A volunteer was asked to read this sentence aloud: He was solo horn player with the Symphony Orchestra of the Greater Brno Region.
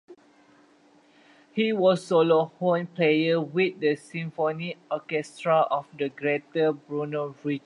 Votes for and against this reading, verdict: 0, 2, rejected